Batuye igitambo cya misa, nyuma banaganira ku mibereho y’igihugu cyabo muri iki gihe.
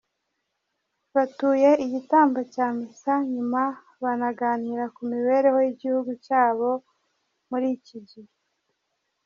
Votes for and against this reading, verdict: 2, 0, accepted